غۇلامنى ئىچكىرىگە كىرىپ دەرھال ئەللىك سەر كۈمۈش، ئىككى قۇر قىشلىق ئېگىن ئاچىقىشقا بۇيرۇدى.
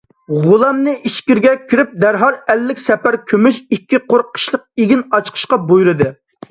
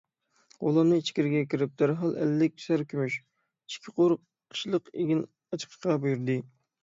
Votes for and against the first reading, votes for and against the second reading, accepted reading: 0, 2, 6, 0, second